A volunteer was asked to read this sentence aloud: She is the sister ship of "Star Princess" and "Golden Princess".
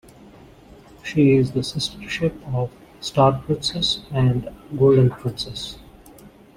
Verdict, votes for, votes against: accepted, 2, 0